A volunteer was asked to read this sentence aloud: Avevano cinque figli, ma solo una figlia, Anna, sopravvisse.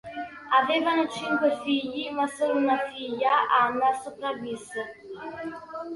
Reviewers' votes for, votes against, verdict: 3, 1, accepted